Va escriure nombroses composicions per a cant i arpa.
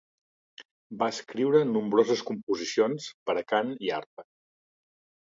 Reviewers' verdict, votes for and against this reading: accepted, 2, 0